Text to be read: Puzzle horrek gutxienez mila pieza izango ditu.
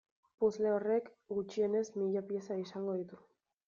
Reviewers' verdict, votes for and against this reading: accepted, 2, 0